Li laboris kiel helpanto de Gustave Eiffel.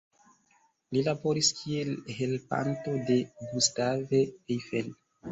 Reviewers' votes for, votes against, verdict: 2, 1, accepted